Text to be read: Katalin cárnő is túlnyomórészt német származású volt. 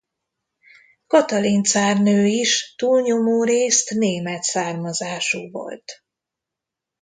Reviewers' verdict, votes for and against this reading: accepted, 2, 0